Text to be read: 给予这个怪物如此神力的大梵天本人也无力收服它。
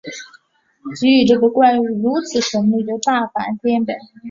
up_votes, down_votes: 0, 2